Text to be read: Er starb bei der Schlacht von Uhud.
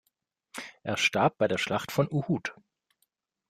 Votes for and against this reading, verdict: 2, 0, accepted